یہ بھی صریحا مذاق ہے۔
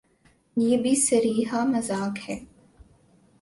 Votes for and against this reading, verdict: 2, 0, accepted